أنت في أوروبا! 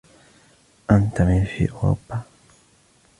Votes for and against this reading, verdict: 2, 1, accepted